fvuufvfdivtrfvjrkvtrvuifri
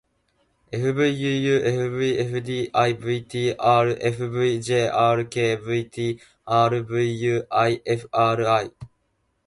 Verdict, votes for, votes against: accepted, 2, 0